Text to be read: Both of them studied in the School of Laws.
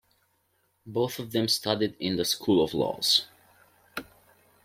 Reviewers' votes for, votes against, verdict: 2, 0, accepted